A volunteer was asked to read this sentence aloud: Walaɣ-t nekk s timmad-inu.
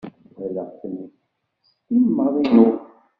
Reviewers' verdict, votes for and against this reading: rejected, 0, 2